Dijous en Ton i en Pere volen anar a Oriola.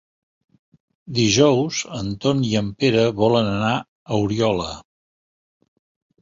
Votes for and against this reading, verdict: 3, 0, accepted